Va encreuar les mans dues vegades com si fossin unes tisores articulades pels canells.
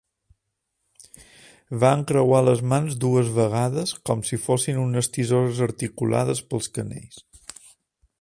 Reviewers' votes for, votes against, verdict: 2, 0, accepted